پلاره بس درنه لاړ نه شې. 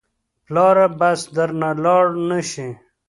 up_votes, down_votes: 2, 0